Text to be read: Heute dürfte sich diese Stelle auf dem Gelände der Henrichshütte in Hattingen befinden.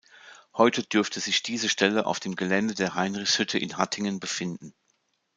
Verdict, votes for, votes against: rejected, 1, 2